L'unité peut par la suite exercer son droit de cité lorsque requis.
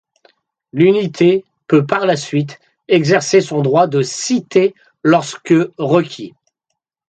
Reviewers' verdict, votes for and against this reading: accepted, 2, 0